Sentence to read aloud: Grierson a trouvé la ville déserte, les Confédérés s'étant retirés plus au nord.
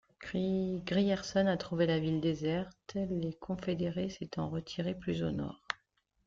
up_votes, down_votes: 1, 3